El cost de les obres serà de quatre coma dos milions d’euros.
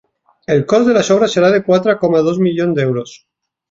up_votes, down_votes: 4, 2